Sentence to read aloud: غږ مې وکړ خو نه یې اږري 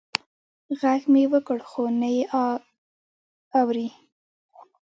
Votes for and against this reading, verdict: 1, 2, rejected